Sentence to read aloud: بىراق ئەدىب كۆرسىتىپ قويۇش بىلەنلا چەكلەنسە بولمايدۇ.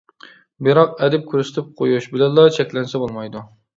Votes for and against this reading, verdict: 2, 0, accepted